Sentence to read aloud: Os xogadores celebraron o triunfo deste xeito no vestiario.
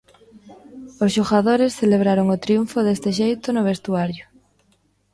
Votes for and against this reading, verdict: 0, 2, rejected